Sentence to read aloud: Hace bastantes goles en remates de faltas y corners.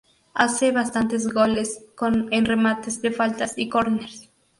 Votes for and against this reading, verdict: 0, 2, rejected